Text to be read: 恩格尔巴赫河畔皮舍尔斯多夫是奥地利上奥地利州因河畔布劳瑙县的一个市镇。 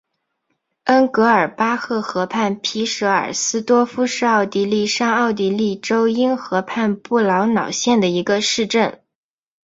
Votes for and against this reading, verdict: 3, 2, accepted